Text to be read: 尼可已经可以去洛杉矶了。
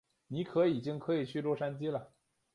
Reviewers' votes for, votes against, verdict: 2, 0, accepted